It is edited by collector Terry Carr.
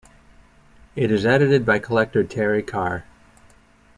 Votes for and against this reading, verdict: 2, 0, accepted